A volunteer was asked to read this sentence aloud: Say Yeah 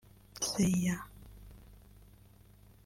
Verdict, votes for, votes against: rejected, 0, 2